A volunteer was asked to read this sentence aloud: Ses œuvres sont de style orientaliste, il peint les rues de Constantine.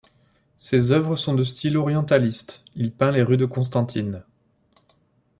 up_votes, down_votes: 2, 0